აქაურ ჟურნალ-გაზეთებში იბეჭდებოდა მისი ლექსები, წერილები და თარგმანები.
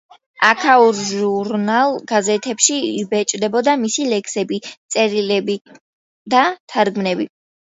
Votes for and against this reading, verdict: 2, 1, accepted